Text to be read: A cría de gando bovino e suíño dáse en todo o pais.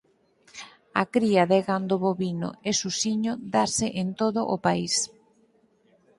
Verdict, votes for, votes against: rejected, 0, 4